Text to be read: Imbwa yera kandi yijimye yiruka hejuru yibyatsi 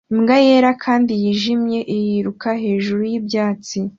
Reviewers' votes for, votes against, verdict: 2, 0, accepted